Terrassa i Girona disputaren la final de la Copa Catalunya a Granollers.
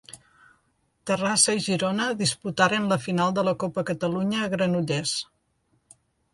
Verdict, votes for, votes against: accepted, 3, 0